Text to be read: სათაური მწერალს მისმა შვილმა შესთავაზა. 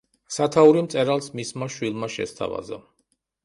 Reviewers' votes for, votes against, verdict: 2, 0, accepted